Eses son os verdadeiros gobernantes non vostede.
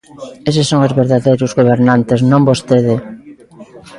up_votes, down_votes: 1, 2